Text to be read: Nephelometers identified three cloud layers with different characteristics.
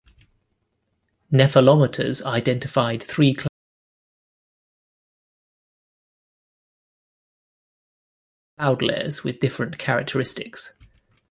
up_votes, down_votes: 0, 3